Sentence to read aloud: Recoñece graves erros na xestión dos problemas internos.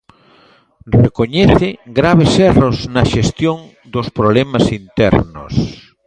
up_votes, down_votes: 1, 2